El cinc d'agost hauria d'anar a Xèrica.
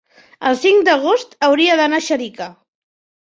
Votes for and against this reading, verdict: 1, 2, rejected